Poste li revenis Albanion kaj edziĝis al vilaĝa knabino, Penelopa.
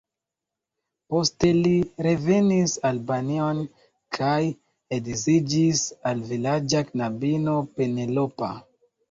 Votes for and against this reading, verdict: 2, 0, accepted